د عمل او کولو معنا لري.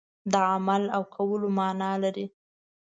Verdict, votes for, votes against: accepted, 2, 0